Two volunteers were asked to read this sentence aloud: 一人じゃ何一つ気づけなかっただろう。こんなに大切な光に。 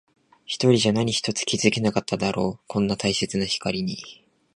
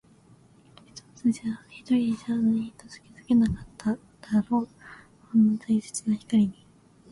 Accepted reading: first